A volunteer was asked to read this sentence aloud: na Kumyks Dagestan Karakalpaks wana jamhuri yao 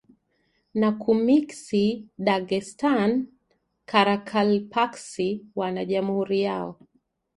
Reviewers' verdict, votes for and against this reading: accepted, 2, 0